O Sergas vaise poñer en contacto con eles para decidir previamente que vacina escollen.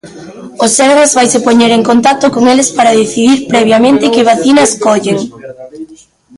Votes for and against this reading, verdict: 1, 2, rejected